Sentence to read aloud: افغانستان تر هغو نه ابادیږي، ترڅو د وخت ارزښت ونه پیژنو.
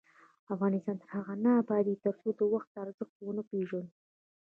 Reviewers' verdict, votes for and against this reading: rejected, 0, 2